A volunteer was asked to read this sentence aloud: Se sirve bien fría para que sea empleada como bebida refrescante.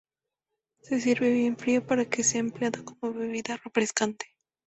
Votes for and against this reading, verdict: 2, 0, accepted